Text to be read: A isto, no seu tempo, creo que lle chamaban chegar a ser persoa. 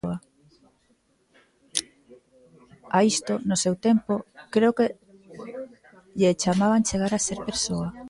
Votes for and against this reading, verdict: 2, 0, accepted